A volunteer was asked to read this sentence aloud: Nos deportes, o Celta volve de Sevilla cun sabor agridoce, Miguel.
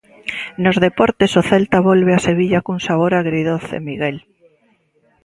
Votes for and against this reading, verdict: 0, 2, rejected